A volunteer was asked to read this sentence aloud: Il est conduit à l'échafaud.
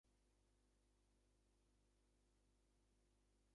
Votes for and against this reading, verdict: 0, 2, rejected